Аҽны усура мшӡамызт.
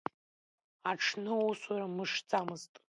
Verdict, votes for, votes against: accepted, 2, 0